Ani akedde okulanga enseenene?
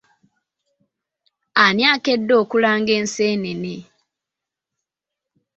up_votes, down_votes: 2, 0